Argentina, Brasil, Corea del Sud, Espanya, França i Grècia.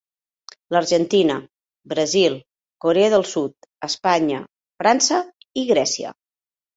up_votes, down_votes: 0, 2